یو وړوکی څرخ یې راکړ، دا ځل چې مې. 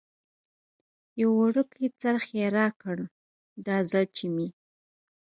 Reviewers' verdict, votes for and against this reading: accepted, 4, 0